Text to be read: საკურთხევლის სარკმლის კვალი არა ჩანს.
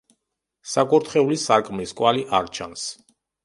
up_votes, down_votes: 0, 2